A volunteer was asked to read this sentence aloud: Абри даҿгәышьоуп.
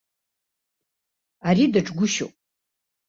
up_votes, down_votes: 0, 2